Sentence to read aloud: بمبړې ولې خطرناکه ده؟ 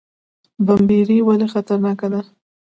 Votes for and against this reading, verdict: 1, 2, rejected